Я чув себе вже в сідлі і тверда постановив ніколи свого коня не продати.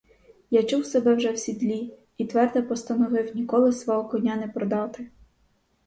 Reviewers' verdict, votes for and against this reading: rejected, 2, 2